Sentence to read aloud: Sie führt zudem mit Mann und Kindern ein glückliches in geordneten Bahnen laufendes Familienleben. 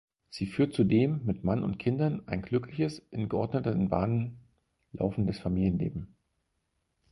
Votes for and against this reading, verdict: 4, 0, accepted